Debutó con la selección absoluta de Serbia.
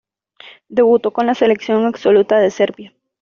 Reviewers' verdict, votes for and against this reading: accepted, 2, 0